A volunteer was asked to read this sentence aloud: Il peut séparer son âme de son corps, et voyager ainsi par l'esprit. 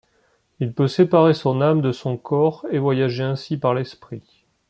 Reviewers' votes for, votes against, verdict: 2, 1, accepted